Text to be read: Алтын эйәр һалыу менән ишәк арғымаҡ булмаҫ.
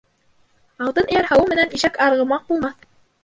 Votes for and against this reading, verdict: 0, 3, rejected